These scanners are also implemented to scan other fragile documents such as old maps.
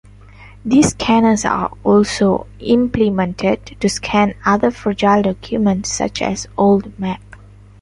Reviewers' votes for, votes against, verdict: 0, 2, rejected